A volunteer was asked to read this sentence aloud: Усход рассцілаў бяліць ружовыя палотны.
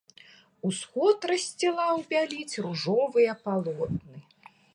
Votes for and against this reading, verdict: 2, 0, accepted